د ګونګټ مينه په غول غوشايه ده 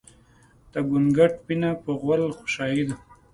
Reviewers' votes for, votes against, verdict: 2, 0, accepted